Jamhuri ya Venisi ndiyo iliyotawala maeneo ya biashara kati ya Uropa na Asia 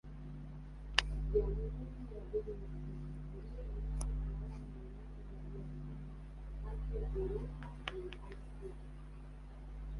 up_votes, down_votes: 1, 2